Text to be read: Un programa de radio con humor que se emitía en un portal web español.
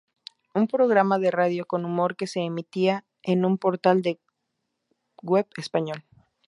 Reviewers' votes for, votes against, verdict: 0, 4, rejected